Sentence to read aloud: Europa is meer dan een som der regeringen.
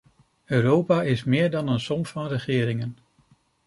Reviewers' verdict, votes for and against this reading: rejected, 0, 2